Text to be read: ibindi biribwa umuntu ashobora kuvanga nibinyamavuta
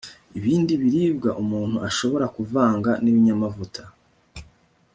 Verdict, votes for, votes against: accepted, 2, 0